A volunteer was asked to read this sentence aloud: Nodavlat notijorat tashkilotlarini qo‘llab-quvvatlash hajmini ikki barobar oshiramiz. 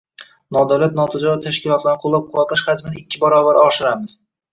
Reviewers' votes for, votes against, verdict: 2, 0, accepted